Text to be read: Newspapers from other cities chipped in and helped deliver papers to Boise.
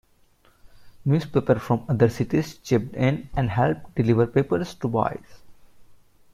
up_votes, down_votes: 0, 2